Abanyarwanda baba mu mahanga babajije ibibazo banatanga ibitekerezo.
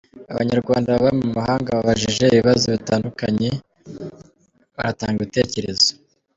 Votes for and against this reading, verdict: 1, 2, rejected